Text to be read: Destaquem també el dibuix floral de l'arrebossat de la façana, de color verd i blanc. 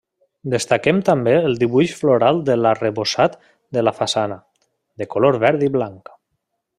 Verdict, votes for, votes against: accepted, 3, 0